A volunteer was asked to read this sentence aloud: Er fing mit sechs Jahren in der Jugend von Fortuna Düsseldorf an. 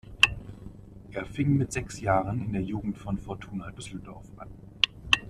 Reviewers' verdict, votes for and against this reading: accepted, 2, 1